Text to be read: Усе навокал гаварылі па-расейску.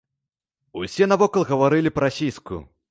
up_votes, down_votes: 1, 2